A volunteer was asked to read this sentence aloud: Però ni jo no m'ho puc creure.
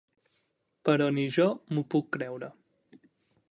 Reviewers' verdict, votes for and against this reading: rejected, 1, 2